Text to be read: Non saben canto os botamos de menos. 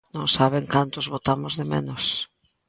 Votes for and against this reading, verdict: 2, 0, accepted